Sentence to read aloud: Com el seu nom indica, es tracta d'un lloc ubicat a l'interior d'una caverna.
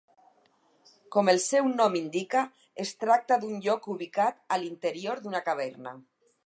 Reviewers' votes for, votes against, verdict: 2, 4, rejected